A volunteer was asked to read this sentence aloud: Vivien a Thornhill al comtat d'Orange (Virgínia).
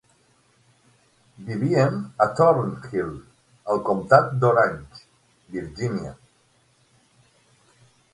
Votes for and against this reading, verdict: 6, 3, accepted